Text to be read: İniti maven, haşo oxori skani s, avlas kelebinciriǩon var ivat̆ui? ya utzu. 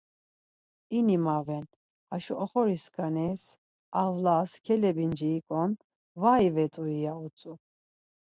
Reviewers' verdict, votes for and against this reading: rejected, 0, 4